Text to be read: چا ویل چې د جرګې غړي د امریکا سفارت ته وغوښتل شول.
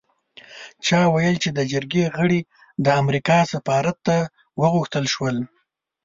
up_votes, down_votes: 2, 0